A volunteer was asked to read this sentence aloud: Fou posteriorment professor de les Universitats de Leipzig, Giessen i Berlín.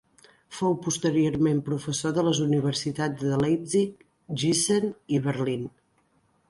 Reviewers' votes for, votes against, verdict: 2, 0, accepted